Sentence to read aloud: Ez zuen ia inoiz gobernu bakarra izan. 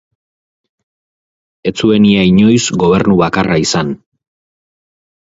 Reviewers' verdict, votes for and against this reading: accepted, 4, 0